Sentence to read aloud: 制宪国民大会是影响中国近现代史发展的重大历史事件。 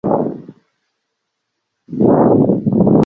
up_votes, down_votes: 0, 3